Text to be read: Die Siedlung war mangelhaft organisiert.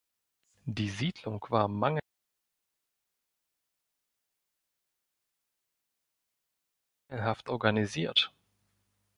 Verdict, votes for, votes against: rejected, 0, 2